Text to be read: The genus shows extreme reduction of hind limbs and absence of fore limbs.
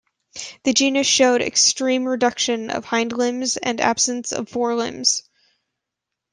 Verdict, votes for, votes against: rejected, 1, 2